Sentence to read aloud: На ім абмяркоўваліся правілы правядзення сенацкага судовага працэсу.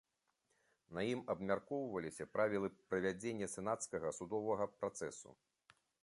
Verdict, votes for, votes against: accepted, 2, 0